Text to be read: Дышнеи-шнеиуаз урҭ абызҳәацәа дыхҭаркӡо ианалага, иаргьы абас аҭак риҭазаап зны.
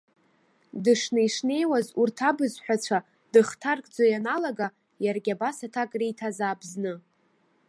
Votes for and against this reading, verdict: 2, 0, accepted